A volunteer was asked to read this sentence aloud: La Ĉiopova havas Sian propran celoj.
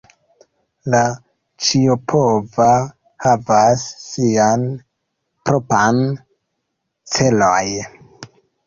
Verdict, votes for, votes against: rejected, 0, 2